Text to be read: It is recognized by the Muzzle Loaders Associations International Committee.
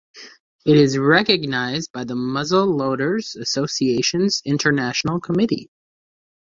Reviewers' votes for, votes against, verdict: 2, 0, accepted